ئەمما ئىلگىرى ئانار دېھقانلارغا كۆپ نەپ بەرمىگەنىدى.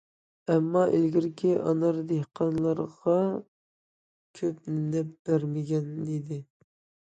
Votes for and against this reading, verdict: 2, 1, accepted